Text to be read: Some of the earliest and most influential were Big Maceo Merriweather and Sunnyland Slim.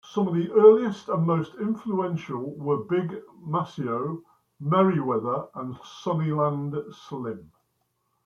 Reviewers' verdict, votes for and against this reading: rejected, 0, 2